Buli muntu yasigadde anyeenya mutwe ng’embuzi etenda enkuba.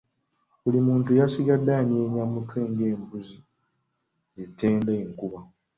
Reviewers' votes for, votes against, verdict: 2, 0, accepted